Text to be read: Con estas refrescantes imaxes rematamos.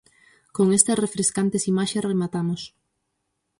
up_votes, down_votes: 4, 0